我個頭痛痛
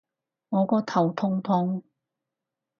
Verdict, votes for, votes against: accepted, 4, 0